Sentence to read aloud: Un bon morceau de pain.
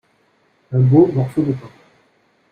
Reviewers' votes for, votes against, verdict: 0, 2, rejected